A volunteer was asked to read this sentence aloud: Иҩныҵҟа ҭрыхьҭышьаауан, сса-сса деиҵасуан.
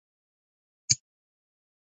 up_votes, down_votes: 0, 2